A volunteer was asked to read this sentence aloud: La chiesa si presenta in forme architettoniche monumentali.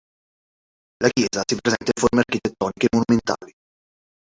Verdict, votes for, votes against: rejected, 0, 2